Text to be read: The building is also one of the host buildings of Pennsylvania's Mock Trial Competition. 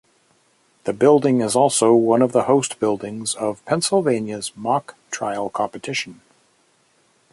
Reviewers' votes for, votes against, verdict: 2, 0, accepted